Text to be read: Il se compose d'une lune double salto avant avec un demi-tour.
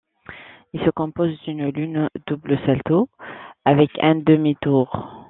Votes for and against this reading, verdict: 1, 2, rejected